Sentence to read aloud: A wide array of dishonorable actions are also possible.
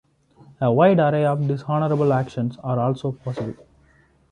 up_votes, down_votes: 2, 0